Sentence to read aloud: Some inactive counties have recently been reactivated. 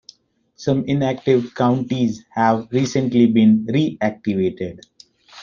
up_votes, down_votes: 2, 0